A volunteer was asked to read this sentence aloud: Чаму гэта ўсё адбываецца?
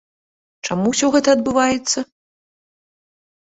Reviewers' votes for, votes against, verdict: 1, 2, rejected